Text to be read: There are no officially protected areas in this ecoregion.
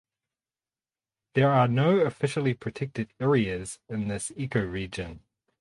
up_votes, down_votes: 2, 2